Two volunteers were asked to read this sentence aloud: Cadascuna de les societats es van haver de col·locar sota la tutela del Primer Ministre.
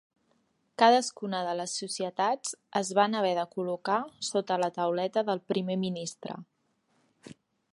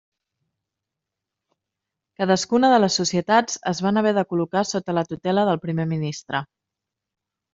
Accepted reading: second